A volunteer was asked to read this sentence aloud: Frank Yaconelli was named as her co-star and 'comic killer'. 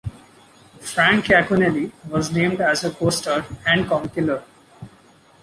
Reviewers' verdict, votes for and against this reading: accepted, 2, 1